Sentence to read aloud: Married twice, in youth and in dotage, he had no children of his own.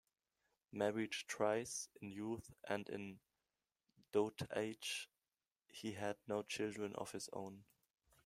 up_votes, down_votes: 0, 2